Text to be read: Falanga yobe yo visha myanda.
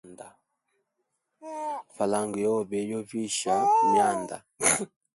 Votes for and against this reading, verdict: 1, 2, rejected